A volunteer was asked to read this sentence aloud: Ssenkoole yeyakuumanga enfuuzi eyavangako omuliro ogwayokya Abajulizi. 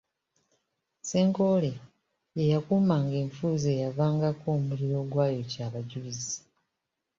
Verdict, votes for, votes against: accepted, 2, 0